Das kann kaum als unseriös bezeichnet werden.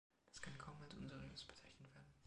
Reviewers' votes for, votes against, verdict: 2, 0, accepted